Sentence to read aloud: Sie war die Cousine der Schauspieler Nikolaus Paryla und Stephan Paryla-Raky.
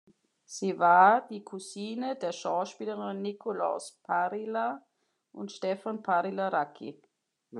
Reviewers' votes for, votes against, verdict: 1, 3, rejected